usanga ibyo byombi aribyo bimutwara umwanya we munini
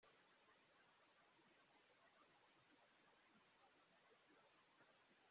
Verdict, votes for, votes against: rejected, 0, 3